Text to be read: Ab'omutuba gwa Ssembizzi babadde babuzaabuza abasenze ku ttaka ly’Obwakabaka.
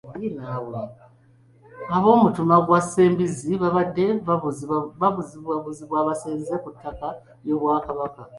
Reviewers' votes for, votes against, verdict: 1, 2, rejected